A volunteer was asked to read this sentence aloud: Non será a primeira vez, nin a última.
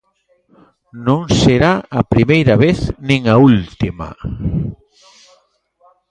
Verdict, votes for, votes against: rejected, 1, 2